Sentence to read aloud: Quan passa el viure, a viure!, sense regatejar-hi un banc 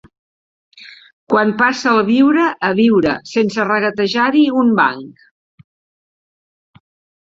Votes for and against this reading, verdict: 0, 2, rejected